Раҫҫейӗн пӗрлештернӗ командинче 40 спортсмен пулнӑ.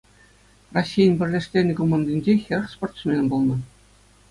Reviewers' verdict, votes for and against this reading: rejected, 0, 2